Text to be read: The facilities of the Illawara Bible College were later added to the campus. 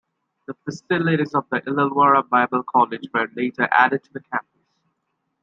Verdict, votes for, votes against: rejected, 0, 2